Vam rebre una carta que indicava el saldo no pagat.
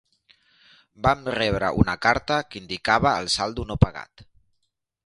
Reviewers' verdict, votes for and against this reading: accepted, 3, 0